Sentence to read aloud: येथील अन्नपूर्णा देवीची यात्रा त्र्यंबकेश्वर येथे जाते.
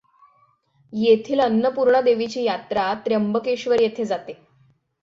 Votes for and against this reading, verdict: 6, 0, accepted